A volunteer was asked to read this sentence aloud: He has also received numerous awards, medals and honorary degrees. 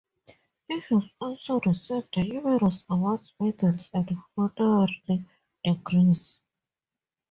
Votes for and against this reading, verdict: 0, 2, rejected